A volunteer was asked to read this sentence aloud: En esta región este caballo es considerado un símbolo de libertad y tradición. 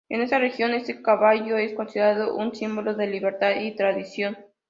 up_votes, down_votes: 2, 0